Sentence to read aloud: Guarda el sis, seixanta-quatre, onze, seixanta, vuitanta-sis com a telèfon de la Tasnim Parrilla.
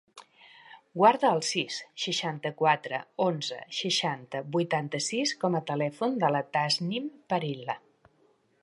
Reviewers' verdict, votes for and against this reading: rejected, 1, 3